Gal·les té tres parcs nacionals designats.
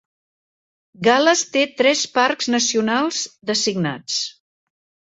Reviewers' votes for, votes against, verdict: 3, 0, accepted